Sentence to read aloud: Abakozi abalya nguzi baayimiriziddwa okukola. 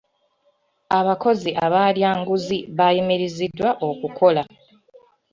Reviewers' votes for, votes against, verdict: 0, 2, rejected